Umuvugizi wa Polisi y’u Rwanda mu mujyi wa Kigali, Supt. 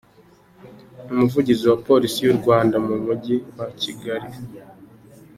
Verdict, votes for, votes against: rejected, 0, 2